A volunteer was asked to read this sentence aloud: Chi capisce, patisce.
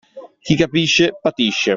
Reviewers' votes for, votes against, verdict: 2, 0, accepted